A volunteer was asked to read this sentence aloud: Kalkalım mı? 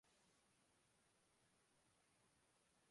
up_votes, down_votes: 0, 2